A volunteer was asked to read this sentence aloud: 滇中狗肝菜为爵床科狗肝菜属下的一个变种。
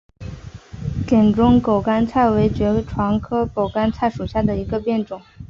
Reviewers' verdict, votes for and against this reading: accepted, 2, 0